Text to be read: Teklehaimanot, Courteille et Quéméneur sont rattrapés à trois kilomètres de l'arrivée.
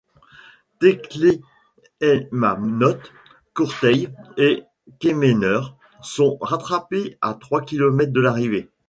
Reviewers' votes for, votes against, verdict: 1, 2, rejected